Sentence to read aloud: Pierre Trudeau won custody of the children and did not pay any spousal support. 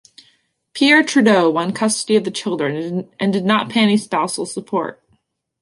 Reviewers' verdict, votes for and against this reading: rejected, 1, 2